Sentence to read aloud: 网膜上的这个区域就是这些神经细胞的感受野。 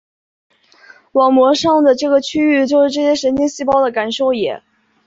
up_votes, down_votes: 5, 0